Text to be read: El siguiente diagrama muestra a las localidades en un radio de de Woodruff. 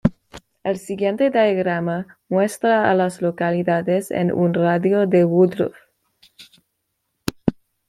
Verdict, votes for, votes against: accepted, 2, 1